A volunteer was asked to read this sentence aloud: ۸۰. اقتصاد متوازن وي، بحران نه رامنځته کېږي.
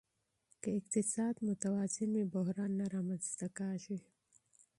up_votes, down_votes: 0, 2